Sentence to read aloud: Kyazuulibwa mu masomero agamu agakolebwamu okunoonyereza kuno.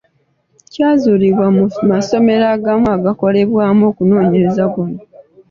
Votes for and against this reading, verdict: 2, 0, accepted